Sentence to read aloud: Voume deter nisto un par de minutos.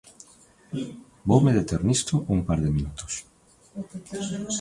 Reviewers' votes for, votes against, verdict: 0, 2, rejected